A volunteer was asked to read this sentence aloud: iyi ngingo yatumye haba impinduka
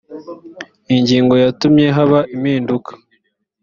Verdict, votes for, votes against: accepted, 2, 0